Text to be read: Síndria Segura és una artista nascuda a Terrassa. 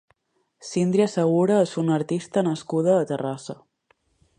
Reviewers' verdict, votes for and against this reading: accepted, 2, 0